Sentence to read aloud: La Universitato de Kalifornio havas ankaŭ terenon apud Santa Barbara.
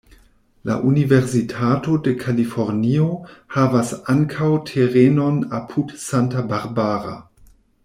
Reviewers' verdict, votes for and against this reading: accepted, 2, 0